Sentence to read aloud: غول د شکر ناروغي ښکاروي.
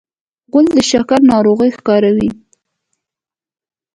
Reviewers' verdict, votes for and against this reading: accepted, 2, 0